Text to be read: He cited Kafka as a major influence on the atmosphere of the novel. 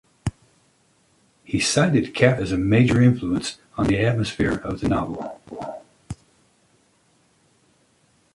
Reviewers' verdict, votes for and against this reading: rejected, 1, 2